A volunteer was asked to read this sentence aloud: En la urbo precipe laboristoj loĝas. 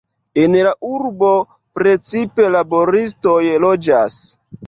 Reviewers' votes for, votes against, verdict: 0, 2, rejected